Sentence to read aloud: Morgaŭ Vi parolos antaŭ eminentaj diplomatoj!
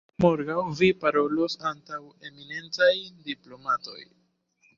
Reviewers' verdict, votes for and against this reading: accepted, 2, 1